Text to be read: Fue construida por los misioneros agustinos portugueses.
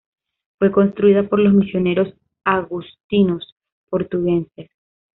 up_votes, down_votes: 1, 2